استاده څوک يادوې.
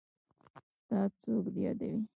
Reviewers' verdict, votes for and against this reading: rejected, 0, 2